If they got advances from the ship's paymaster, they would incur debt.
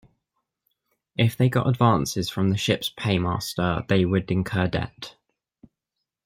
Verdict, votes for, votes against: rejected, 0, 2